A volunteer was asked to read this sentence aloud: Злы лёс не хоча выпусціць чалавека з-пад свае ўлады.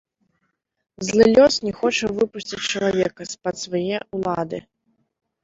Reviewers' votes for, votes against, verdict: 2, 1, accepted